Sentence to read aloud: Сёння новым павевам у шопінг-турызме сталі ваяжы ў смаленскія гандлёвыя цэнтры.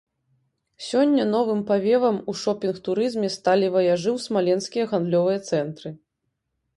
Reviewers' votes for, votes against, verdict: 2, 0, accepted